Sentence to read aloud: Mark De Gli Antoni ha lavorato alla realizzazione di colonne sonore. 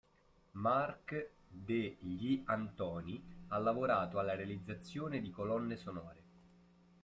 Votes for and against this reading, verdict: 0, 2, rejected